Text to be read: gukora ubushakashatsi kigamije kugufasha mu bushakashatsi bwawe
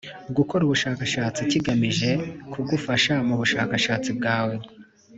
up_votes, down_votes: 2, 0